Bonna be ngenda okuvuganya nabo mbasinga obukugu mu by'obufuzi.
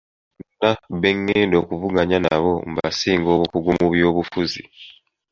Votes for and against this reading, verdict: 0, 2, rejected